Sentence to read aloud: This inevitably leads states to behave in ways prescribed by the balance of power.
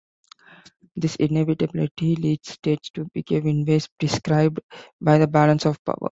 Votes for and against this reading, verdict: 2, 1, accepted